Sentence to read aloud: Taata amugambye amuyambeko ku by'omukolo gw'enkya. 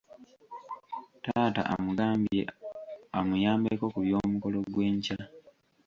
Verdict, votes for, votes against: accepted, 2, 0